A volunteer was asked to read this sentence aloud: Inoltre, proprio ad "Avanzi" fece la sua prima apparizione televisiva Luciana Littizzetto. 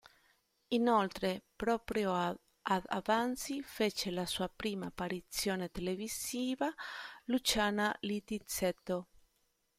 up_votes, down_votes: 0, 2